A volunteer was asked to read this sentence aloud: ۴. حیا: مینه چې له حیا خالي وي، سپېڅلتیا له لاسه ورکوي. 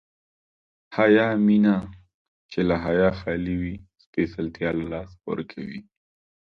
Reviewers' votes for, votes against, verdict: 0, 2, rejected